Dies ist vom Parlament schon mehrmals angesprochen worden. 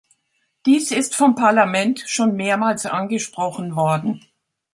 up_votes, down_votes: 2, 0